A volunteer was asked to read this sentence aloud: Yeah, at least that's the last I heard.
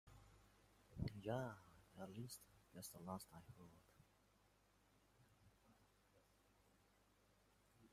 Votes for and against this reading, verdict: 0, 2, rejected